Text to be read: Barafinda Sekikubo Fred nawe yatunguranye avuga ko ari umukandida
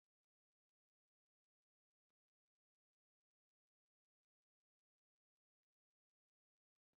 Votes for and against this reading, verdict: 1, 2, rejected